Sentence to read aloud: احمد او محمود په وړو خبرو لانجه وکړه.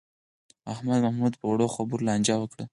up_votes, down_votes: 0, 4